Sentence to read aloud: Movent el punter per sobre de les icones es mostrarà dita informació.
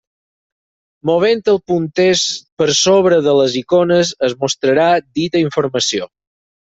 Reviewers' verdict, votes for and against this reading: accepted, 4, 2